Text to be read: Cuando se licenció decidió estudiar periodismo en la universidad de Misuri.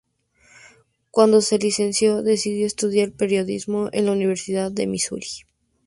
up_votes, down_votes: 2, 0